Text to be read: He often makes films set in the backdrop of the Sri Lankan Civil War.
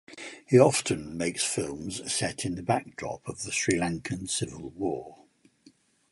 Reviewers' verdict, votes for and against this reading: accepted, 4, 0